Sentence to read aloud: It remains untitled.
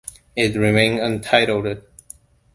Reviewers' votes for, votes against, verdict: 0, 2, rejected